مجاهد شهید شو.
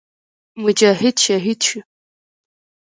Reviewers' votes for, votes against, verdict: 2, 1, accepted